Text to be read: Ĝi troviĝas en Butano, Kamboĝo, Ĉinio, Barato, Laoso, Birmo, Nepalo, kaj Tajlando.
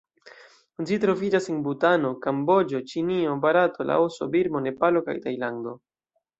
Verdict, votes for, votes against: accepted, 2, 0